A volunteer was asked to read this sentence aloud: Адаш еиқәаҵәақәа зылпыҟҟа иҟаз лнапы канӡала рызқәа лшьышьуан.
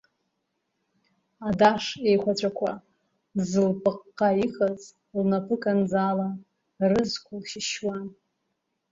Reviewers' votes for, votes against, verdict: 0, 2, rejected